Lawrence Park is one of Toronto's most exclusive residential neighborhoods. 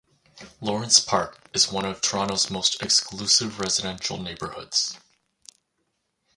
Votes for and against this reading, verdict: 4, 0, accepted